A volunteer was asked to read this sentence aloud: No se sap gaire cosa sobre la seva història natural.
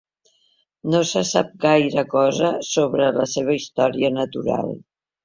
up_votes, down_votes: 3, 0